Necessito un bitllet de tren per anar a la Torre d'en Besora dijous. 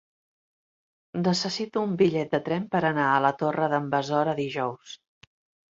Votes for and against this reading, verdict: 3, 0, accepted